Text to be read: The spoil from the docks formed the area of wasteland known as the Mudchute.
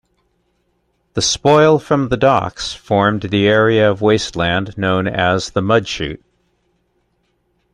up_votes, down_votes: 2, 0